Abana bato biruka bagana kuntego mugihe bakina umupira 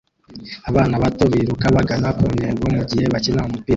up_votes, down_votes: 0, 2